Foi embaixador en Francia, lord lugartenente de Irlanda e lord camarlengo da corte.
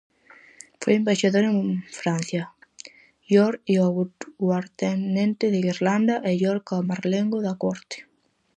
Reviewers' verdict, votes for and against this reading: rejected, 0, 4